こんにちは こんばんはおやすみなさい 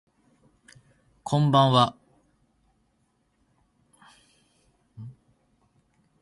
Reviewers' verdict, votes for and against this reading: rejected, 0, 2